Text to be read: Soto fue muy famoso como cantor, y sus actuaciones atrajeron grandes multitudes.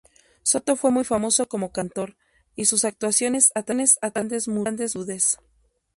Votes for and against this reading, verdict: 0, 2, rejected